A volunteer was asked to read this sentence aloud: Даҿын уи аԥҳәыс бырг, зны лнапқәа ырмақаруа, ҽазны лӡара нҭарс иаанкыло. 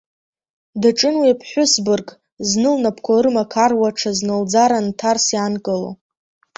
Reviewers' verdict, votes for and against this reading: accepted, 2, 1